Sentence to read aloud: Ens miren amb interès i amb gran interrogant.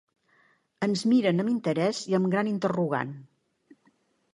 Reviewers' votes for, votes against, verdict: 3, 0, accepted